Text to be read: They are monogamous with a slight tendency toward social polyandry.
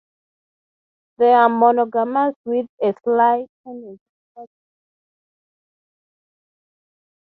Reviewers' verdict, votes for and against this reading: rejected, 0, 3